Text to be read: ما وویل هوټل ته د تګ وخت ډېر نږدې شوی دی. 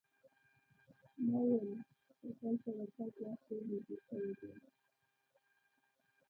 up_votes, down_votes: 1, 2